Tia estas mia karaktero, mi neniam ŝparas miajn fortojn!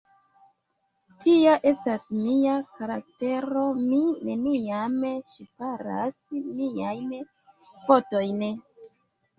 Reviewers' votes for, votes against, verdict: 2, 1, accepted